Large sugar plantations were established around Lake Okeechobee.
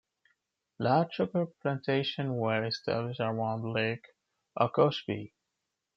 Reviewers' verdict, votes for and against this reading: rejected, 0, 2